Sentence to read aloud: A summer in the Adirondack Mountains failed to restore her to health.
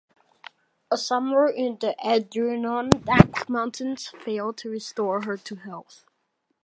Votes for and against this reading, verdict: 2, 1, accepted